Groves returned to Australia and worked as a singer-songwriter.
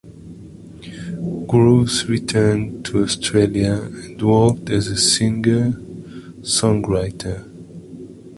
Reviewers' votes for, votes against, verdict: 2, 1, accepted